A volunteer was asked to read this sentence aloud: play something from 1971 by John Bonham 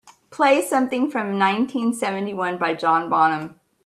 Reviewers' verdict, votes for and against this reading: rejected, 0, 2